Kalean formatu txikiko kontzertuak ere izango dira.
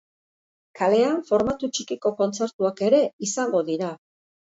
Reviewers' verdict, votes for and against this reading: accepted, 2, 0